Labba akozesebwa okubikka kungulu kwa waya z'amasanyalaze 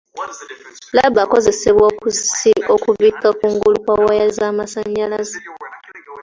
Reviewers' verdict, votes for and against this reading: rejected, 1, 2